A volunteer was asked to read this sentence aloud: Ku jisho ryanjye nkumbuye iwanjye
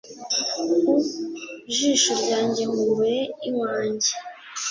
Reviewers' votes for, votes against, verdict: 2, 0, accepted